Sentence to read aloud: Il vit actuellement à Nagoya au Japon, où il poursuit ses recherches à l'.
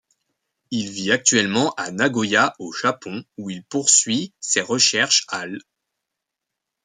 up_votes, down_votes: 2, 0